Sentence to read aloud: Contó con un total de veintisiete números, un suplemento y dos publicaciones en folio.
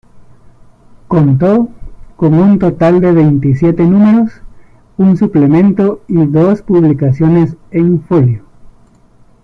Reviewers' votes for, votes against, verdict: 2, 1, accepted